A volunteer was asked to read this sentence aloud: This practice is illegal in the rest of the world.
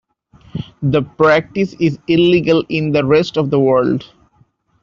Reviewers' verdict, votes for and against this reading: rejected, 0, 2